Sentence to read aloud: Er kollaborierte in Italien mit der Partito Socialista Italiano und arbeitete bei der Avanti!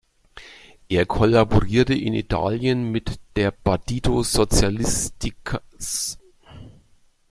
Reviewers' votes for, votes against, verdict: 0, 2, rejected